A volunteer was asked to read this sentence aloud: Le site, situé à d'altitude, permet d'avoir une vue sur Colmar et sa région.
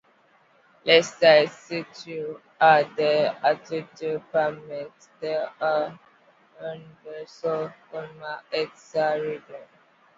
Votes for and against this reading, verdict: 0, 2, rejected